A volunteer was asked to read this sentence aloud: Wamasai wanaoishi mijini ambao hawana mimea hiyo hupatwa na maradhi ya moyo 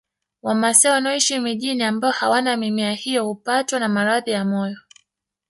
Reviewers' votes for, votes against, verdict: 0, 2, rejected